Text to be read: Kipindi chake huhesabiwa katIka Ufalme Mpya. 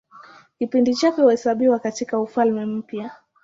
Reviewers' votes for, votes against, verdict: 2, 0, accepted